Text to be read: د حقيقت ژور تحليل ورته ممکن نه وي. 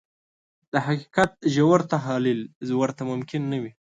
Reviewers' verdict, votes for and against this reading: rejected, 1, 2